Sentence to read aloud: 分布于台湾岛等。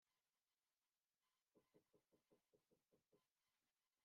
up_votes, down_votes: 0, 2